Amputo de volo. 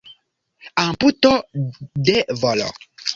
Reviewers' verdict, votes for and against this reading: accepted, 2, 0